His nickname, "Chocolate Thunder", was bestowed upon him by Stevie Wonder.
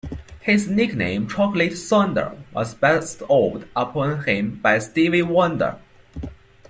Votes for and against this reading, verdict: 3, 2, accepted